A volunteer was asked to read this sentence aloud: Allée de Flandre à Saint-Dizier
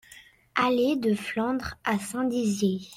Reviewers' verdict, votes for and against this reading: rejected, 1, 2